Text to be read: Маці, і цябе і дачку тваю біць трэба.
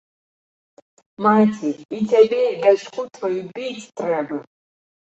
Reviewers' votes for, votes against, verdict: 1, 2, rejected